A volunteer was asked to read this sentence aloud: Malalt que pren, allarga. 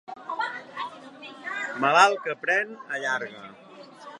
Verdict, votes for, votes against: rejected, 1, 2